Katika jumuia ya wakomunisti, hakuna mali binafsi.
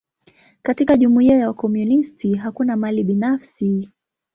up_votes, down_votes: 9, 2